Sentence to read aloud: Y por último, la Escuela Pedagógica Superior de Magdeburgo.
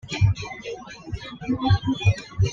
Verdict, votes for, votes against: rejected, 1, 2